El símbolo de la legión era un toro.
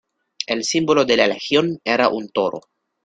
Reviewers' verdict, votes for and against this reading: accepted, 2, 0